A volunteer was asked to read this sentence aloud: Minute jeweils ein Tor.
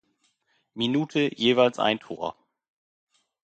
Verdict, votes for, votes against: accepted, 2, 0